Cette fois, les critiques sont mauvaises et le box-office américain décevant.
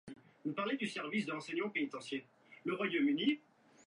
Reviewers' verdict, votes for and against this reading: rejected, 1, 2